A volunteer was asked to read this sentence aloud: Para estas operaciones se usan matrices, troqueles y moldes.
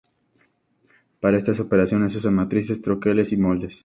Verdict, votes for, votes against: accepted, 2, 0